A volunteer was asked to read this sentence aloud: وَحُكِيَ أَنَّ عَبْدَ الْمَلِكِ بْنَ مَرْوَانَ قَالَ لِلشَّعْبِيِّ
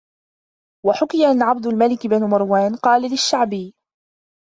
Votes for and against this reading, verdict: 1, 2, rejected